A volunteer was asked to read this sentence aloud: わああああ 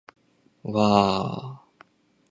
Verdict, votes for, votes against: rejected, 0, 2